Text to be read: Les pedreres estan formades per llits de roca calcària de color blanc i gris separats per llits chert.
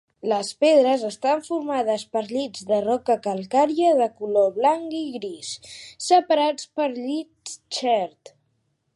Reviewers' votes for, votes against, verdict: 1, 4, rejected